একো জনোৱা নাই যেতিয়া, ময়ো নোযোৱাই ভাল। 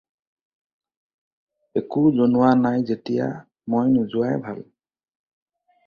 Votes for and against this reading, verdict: 2, 0, accepted